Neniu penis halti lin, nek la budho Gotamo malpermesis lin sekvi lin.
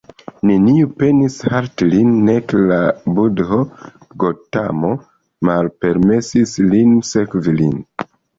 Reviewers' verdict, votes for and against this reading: accepted, 3, 2